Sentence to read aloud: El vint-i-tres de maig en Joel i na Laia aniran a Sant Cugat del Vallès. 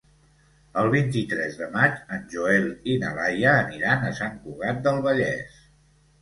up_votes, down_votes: 2, 0